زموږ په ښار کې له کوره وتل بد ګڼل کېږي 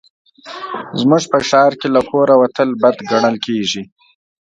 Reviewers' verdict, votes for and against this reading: accepted, 2, 0